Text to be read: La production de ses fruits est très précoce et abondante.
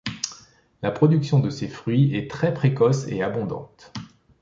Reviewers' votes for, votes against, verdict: 2, 0, accepted